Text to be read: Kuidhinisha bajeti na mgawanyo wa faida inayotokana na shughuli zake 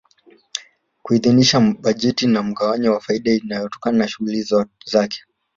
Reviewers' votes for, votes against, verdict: 1, 2, rejected